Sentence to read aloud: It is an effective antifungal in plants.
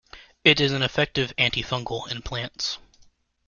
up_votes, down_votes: 1, 2